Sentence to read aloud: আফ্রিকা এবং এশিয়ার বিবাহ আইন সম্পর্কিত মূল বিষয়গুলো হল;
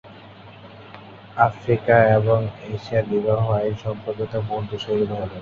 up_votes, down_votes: 2, 0